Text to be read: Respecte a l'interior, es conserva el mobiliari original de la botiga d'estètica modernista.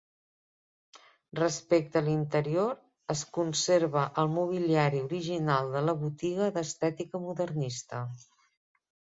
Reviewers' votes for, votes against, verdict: 3, 1, accepted